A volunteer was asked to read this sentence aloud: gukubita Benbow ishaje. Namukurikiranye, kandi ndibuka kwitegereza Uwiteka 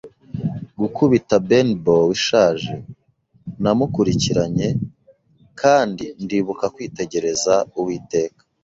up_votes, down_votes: 2, 0